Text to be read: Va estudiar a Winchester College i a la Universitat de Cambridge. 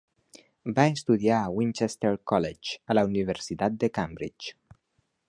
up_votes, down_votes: 1, 2